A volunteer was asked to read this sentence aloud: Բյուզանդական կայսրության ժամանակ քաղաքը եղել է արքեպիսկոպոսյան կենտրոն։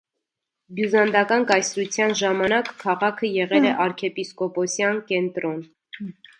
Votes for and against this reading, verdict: 2, 0, accepted